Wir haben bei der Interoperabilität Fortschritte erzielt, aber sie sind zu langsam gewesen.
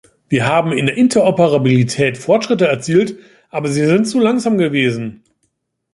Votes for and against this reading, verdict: 1, 2, rejected